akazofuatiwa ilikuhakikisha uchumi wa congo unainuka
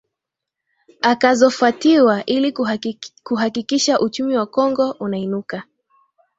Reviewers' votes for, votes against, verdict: 6, 7, rejected